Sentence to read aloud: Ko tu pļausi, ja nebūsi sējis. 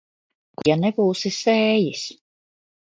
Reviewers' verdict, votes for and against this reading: rejected, 0, 2